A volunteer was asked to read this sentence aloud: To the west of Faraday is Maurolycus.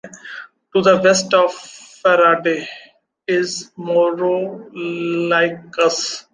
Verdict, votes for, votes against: rejected, 0, 2